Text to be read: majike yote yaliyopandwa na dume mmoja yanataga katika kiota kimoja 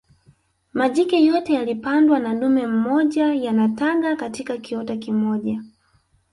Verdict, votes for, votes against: accepted, 2, 0